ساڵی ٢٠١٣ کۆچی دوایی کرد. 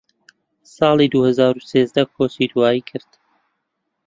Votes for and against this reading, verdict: 0, 2, rejected